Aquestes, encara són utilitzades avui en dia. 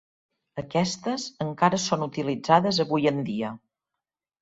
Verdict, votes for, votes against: accepted, 4, 0